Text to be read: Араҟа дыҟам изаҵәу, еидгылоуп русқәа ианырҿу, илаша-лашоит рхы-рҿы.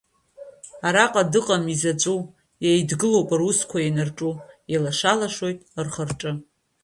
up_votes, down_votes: 2, 0